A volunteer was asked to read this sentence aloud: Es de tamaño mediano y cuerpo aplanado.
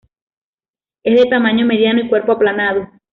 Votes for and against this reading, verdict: 2, 0, accepted